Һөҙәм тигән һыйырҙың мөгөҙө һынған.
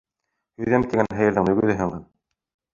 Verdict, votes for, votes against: rejected, 0, 2